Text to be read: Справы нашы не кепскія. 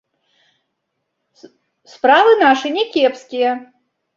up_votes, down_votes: 0, 2